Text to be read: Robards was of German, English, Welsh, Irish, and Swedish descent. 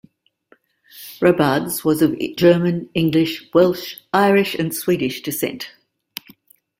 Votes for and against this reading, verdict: 1, 2, rejected